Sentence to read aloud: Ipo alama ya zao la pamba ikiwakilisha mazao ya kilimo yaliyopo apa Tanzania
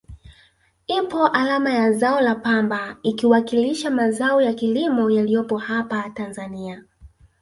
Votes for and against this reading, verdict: 0, 2, rejected